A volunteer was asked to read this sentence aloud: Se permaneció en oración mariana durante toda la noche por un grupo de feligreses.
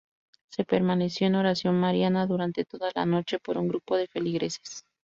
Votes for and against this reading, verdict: 2, 0, accepted